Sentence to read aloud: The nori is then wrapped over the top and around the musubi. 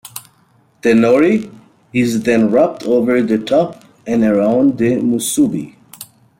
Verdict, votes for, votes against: rejected, 0, 2